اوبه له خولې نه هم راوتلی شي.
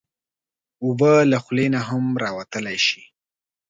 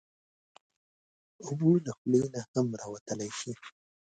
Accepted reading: first